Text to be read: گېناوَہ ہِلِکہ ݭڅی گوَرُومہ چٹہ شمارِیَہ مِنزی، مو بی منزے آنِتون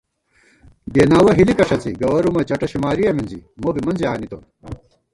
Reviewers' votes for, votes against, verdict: 1, 2, rejected